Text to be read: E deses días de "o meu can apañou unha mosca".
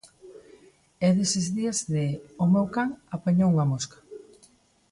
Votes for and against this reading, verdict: 2, 0, accepted